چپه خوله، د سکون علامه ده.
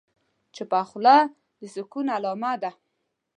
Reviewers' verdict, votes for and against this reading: accepted, 2, 0